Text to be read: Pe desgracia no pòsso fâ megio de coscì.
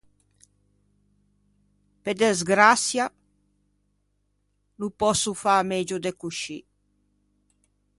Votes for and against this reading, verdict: 1, 2, rejected